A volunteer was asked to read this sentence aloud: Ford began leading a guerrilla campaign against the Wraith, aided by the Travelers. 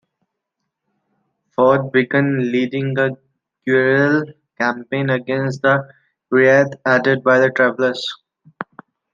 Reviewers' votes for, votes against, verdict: 0, 2, rejected